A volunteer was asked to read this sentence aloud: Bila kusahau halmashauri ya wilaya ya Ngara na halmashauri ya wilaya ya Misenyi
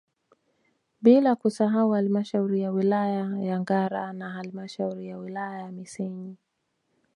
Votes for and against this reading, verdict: 2, 0, accepted